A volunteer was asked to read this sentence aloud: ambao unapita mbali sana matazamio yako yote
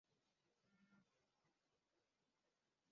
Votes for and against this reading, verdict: 0, 2, rejected